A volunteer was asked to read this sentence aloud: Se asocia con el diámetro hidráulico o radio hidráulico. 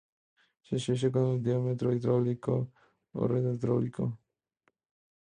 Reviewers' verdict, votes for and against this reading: rejected, 0, 2